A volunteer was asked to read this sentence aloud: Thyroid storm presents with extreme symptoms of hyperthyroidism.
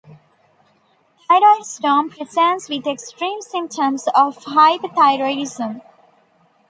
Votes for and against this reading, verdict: 2, 0, accepted